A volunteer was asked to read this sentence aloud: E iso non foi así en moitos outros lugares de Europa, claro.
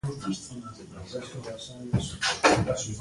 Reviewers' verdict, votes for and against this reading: rejected, 0, 2